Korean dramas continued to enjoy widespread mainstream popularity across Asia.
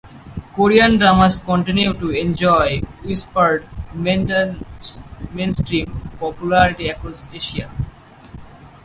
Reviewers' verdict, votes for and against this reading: rejected, 2, 4